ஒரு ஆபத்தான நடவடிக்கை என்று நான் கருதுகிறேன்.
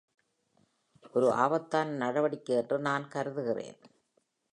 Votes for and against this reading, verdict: 3, 1, accepted